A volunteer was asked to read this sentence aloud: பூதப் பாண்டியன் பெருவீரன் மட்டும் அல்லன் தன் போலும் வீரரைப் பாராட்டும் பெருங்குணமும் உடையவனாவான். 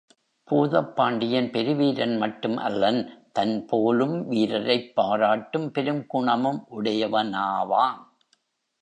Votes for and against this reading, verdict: 2, 0, accepted